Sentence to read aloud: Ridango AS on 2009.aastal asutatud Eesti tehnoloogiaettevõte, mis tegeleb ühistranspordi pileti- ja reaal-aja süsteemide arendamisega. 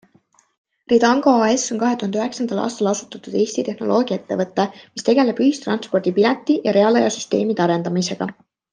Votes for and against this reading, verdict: 0, 2, rejected